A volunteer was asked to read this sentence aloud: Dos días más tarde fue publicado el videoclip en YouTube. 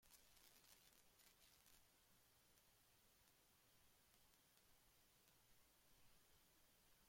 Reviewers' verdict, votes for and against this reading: rejected, 0, 2